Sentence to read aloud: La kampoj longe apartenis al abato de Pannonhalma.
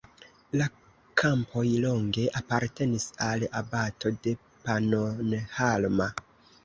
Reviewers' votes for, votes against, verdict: 1, 2, rejected